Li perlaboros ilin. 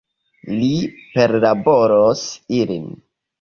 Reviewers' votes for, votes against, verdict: 2, 0, accepted